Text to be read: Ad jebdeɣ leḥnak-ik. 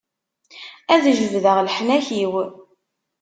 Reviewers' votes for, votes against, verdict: 0, 2, rejected